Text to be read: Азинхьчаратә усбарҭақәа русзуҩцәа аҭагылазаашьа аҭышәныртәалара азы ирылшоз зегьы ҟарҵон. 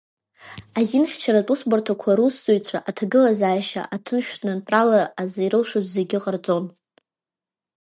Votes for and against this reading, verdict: 1, 2, rejected